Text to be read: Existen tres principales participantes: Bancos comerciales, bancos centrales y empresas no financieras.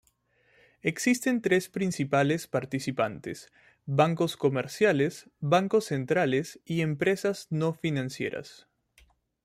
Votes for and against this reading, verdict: 2, 1, accepted